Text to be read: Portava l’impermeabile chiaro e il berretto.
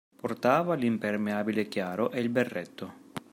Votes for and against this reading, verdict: 2, 0, accepted